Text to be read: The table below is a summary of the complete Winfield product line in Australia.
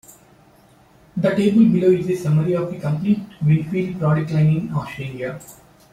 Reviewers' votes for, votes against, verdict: 2, 0, accepted